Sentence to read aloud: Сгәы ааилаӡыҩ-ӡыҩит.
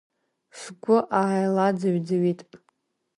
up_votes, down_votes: 2, 0